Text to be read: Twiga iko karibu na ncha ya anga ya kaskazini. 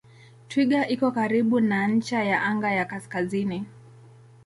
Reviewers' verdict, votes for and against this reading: rejected, 0, 2